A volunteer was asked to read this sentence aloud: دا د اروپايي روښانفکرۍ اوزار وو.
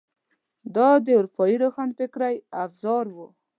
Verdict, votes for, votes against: accepted, 2, 0